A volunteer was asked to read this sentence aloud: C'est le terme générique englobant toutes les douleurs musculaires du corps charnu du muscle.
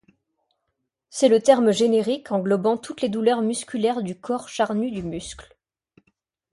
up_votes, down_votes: 3, 0